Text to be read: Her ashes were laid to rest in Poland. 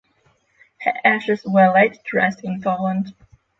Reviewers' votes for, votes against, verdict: 6, 0, accepted